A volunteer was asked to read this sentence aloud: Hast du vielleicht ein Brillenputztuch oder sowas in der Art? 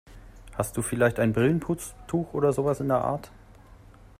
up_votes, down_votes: 2, 1